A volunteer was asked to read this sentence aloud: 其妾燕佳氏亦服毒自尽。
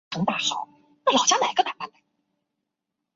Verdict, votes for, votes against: rejected, 1, 7